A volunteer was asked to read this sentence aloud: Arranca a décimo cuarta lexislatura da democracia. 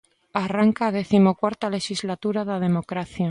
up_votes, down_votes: 2, 0